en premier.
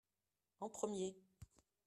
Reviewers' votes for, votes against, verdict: 2, 0, accepted